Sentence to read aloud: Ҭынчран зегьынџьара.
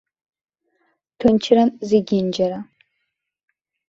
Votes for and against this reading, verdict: 2, 0, accepted